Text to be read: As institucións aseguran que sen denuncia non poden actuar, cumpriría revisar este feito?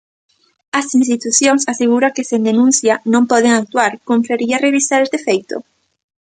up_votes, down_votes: 1, 2